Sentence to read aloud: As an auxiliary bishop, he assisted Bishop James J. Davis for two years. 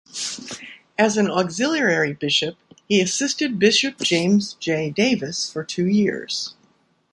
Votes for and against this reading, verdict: 2, 1, accepted